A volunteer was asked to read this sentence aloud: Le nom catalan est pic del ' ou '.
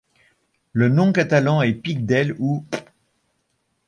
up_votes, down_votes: 2, 1